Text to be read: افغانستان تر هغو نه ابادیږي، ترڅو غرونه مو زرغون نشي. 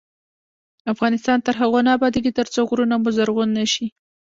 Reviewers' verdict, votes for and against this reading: accepted, 2, 0